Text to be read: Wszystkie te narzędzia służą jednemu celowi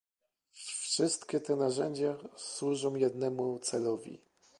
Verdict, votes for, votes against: rejected, 1, 2